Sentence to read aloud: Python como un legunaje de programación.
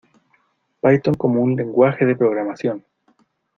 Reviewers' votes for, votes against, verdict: 0, 2, rejected